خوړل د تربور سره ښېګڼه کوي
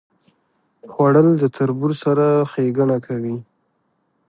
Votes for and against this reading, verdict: 0, 2, rejected